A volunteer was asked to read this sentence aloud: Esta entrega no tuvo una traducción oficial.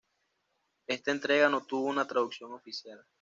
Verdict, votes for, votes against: accepted, 2, 0